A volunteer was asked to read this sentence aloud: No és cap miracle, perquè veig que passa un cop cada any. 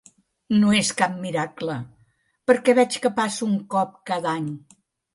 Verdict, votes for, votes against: accepted, 3, 0